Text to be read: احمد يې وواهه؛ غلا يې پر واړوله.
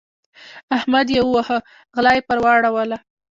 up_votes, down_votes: 1, 2